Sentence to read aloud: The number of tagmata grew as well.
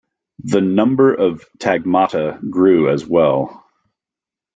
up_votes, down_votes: 2, 0